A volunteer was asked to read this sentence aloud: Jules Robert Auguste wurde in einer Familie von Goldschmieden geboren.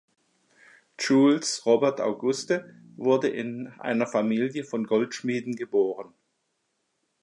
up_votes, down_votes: 2, 0